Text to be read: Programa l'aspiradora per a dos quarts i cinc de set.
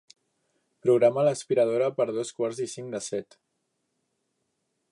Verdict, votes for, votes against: rejected, 1, 2